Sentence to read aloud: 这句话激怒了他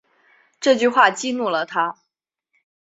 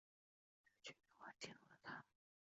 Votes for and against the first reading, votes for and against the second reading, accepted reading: 3, 0, 0, 2, first